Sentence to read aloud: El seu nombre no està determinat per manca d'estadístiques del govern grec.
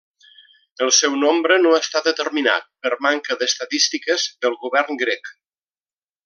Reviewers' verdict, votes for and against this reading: accepted, 2, 0